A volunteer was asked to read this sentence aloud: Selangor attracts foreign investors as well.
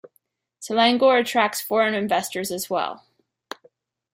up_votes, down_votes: 2, 0